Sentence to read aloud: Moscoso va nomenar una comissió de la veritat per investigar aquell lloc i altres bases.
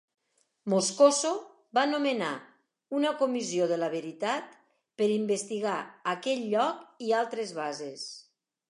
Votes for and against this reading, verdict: 2, 0, accepted